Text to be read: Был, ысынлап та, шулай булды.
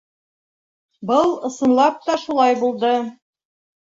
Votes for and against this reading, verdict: 3, 0, accepted